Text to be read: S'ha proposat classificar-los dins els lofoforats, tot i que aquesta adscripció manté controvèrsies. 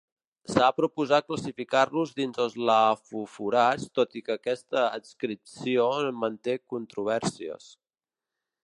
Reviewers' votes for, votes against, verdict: 0, 2, rejected